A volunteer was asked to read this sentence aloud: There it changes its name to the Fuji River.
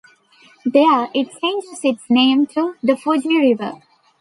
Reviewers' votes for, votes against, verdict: 2, 1, accepted